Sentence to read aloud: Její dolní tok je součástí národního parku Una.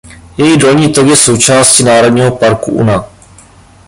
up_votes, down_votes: 1, 2